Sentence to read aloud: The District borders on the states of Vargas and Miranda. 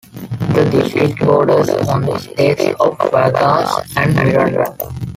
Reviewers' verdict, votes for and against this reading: rejected, 0, 2